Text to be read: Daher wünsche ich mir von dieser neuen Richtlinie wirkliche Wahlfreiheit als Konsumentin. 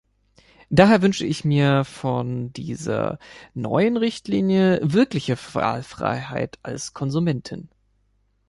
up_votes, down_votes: 0, 2